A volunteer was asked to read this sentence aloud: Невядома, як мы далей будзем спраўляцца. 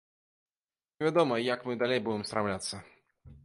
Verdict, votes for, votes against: rejected, 1, 2